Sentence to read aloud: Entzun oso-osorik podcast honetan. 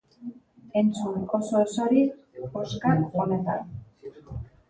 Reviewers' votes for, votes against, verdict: 0, 2, rejected